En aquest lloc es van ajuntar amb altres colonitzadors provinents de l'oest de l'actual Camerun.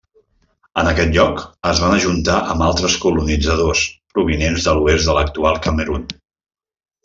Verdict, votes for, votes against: accepted, 3, 0